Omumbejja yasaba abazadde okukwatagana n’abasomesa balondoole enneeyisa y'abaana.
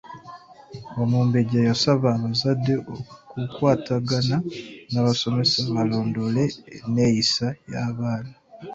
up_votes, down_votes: 2, 1